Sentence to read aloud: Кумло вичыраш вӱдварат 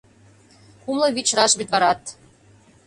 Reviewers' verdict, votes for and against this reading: accepted, 2, 0